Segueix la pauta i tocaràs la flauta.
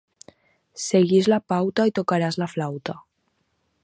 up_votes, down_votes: 4, 0